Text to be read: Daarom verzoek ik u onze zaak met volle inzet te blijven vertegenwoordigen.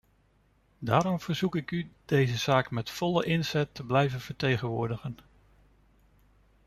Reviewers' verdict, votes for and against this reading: rejected, 0, 3